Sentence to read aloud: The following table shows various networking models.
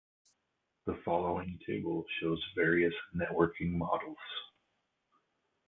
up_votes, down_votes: 1, 2